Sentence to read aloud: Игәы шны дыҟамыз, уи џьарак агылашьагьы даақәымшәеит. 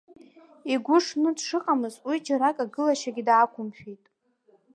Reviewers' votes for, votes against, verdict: 1, 2, rejected